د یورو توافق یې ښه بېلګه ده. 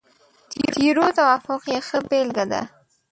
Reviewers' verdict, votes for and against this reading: rejected, 1, 2